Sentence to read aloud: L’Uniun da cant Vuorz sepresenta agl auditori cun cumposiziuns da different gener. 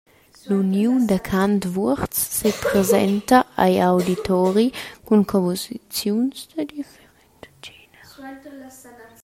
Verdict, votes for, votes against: rejected, 0, 2